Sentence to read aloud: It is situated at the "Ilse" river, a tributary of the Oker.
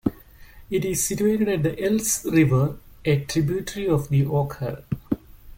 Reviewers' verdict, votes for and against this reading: accepted, 2, 1